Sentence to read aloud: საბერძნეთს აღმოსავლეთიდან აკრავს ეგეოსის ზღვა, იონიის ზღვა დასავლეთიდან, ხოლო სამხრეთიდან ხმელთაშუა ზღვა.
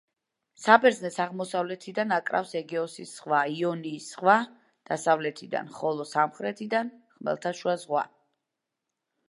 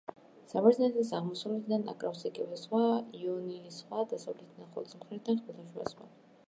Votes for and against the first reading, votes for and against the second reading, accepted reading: 2, 0, 0, 2, first